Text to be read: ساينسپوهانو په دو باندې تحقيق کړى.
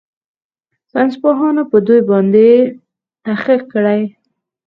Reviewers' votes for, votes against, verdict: 2, 4, rejected